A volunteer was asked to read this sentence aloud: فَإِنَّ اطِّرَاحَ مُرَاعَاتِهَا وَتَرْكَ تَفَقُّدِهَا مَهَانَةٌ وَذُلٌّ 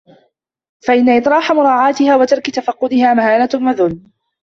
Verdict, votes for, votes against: accepted, 2, 1